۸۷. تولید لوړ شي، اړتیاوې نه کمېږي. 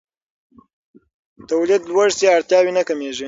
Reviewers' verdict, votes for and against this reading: rejected, 0, 2